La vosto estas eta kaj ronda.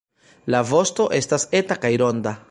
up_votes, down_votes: 1, 2